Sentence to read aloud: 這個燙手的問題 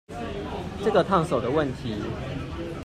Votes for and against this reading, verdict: 2, 0, accepted